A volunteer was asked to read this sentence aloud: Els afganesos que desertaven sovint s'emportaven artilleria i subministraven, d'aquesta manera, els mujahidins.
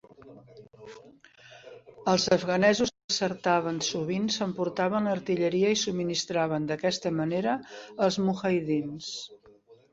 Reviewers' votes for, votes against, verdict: 0, 3, rejected